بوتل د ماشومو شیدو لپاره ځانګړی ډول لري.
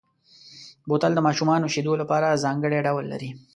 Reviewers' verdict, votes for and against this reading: accepted, 2, 0